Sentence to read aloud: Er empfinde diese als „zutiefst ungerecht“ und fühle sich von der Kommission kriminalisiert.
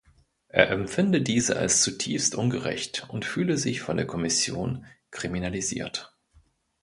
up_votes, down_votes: 2, 0